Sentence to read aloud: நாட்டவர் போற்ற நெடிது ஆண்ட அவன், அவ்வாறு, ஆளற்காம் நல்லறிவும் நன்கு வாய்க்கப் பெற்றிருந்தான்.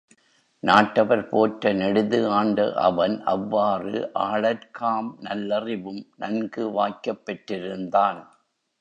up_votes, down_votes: 3, 1